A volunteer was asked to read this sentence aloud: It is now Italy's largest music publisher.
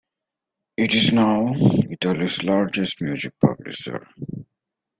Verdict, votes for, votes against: accepted, 2, 0